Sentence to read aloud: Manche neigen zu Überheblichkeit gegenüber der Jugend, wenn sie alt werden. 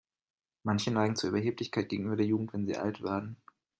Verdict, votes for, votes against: accepted, 2, 0